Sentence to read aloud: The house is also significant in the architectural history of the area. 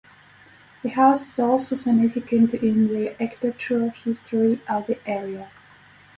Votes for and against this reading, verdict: 4, 0, accepted